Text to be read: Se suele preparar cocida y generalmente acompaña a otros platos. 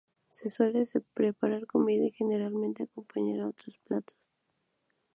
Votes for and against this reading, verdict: 0, 2, rejected